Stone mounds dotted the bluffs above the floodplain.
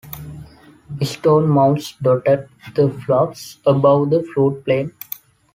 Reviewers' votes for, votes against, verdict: 0, 2, rejected